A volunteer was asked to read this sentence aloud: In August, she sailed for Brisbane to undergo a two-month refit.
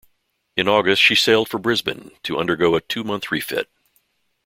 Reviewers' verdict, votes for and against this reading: accepted, 2, 0